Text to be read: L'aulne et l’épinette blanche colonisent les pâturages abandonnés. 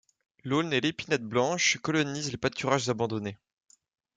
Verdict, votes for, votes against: accepted, 2, 0